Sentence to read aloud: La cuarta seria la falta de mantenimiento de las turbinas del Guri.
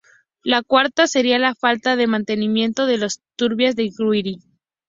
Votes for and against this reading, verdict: 2, 0, accepted